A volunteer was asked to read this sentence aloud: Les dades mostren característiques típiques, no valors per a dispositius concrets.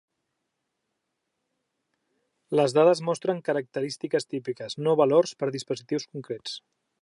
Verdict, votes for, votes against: accepted, 2, 0